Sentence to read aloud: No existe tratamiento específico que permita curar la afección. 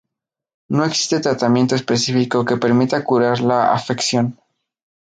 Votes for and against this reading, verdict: 2, 0, accepted